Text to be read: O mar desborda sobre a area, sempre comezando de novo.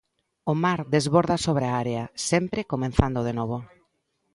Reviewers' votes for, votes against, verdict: 0, 2, rejected